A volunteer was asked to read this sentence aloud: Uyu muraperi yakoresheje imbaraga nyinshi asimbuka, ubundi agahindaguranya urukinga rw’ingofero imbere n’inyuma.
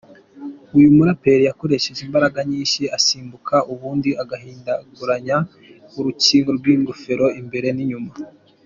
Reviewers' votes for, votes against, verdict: 2, 0, accepted